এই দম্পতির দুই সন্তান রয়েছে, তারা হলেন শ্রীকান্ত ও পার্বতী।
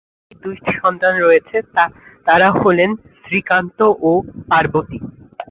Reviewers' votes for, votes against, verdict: 0, 2, rejected